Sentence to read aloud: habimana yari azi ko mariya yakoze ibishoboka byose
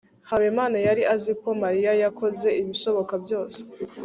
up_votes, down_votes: 3, 0